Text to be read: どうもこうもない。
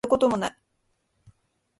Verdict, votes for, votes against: rejected, 2, 3